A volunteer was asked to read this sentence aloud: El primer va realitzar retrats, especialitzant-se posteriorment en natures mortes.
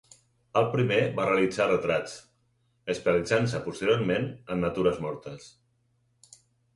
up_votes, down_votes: 4, 2